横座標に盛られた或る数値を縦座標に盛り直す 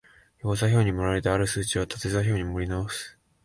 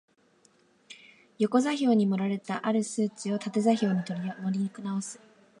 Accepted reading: first